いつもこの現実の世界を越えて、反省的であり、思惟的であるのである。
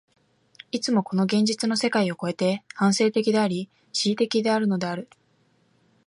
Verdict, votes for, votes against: accepted, 2, 0